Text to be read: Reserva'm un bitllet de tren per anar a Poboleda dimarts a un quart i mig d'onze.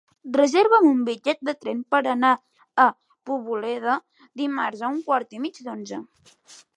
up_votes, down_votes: 3, 0